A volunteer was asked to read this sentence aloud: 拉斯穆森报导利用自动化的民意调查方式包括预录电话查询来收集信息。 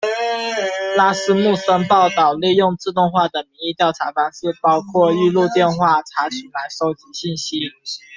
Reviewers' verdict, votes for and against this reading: rejected, 1, 2